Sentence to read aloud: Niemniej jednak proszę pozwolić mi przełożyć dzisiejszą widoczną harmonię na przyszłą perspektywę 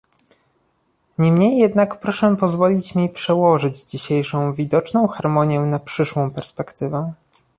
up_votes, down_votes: 2, 0